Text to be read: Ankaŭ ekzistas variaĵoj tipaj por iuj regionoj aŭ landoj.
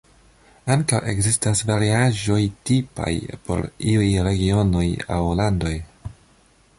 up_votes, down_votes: 2, 0